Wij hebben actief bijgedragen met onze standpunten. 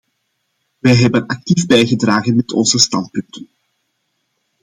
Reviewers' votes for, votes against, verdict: 2, 1, accepted